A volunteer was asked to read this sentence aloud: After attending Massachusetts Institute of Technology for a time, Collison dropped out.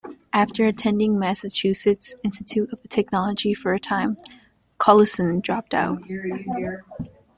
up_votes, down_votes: 2, 1